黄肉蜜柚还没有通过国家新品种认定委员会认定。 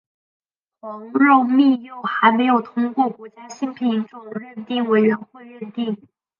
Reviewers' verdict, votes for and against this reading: rejected, 1, 4